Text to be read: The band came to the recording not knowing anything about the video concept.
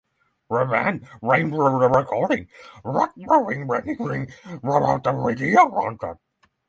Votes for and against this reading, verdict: 0, 6, rejected